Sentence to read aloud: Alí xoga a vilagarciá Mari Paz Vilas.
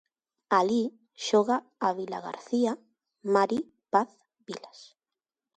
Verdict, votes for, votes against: rejected, 0, 4